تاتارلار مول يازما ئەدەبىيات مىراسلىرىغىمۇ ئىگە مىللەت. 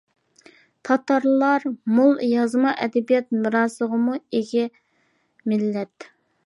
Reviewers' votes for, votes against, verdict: 0, 2, rejected